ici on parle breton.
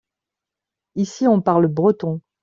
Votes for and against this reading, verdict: 2, 0, accepted